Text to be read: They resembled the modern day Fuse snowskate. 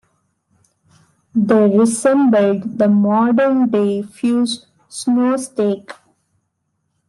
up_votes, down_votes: 1, 2